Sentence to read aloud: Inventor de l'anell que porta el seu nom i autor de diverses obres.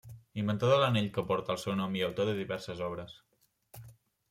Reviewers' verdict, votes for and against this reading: accepted, 3, 1